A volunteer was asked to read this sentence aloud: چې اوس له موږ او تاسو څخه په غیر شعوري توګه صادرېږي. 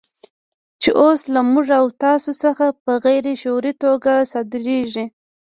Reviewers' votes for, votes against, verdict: 1, 2, rejected